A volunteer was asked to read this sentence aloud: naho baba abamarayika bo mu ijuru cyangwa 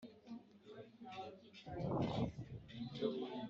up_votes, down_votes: 3, 1